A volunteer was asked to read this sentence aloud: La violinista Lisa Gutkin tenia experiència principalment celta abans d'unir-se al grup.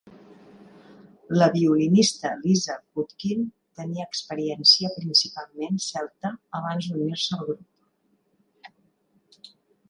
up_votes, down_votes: 2, 0